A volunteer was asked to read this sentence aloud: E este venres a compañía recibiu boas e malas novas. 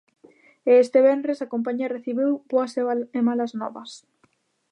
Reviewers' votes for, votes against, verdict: 0, 2, rejected